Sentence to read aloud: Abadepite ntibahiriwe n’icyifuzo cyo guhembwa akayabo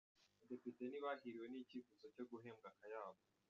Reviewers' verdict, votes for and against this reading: rejected, 1, 2